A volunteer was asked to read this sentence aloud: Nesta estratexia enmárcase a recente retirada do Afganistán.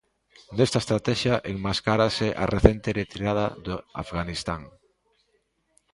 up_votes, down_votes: 0, 2